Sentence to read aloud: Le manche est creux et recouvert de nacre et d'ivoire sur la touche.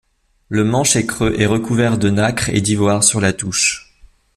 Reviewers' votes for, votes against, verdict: 0, 2, rejected